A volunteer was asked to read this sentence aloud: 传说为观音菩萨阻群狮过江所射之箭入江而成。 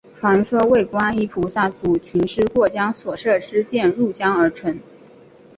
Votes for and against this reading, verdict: 8, 0, accepted